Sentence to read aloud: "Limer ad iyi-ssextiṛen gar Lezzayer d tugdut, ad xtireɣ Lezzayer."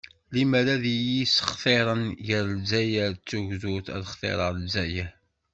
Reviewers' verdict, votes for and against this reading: accepted, 2, 0